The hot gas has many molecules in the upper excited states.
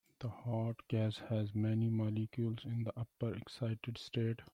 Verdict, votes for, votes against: rejected, 1, 2